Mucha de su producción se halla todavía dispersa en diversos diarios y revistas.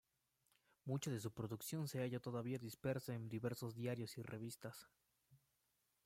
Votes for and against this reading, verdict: 1, 2, rejected